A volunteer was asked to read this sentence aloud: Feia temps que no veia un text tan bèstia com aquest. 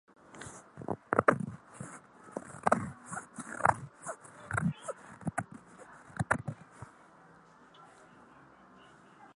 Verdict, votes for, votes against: rejected, 0, 2